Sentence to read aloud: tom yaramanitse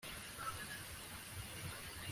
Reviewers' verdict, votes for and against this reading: rejected, 0, 2